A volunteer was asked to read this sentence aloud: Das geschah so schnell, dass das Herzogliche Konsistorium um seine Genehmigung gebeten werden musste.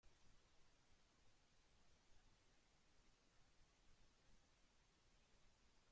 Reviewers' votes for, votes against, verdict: 0, 2, rejected